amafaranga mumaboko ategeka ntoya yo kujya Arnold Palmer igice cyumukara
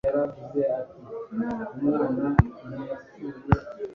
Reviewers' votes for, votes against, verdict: 1, 2, rejected